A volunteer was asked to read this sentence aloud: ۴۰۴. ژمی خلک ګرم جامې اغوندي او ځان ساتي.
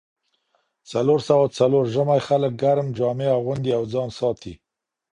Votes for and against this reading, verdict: 0, 2, rejected